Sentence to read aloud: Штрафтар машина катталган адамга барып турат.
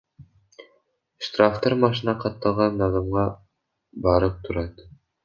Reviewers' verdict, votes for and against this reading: rejected, 0, 2